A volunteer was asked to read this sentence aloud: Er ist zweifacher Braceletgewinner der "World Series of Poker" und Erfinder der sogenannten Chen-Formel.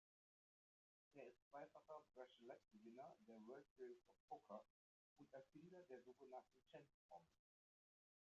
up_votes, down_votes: 0, 2